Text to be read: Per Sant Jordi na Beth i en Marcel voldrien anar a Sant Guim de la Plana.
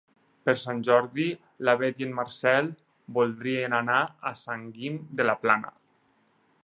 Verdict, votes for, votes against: rejected, 2, 4